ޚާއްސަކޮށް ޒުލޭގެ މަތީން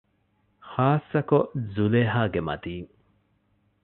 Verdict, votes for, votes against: rejected, 1, 2